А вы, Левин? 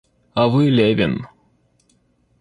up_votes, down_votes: 0, 2